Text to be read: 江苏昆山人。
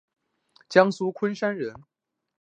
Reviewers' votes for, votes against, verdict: 2, 0, accepted